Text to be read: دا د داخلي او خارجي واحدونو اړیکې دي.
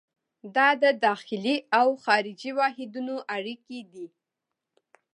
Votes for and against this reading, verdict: 2, 0, accepted